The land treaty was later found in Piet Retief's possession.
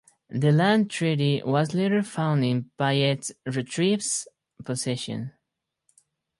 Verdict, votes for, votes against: rejected, 2, 2